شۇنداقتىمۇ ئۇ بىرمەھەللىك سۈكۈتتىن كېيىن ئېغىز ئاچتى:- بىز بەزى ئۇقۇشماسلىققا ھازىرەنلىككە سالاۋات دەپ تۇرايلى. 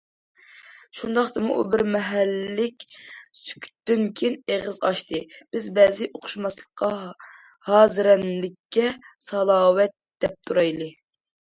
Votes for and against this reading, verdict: 1, 2, rejected